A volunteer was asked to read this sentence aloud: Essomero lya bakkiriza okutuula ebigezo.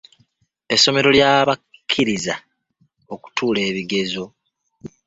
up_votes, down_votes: 0, 2